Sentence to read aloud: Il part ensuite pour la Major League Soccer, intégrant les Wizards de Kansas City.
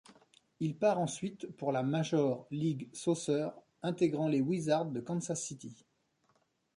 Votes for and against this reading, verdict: 0, 2, rejected